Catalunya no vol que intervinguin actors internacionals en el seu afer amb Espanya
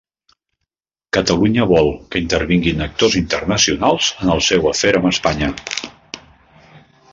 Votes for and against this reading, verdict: 0, 2, rejected